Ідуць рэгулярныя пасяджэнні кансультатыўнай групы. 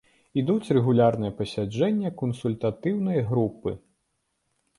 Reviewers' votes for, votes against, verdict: 0, 2, rejected